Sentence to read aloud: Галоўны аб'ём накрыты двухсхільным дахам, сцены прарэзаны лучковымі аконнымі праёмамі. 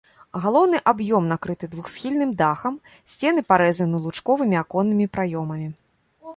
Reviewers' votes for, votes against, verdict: 1, 2, rejected